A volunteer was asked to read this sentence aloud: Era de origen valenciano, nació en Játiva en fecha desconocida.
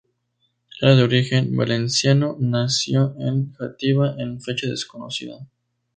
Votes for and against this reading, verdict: 2, 0, accepted